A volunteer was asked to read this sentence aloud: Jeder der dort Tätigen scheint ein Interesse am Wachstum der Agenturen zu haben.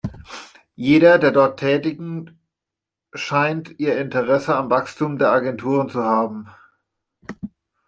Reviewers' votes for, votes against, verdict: 0, 2, rejected